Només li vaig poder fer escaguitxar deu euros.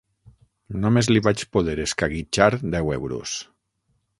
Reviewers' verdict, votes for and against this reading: rejected, 3, 6